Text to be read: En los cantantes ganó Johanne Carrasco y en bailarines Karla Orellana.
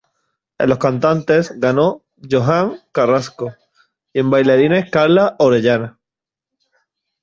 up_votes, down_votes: 1, 2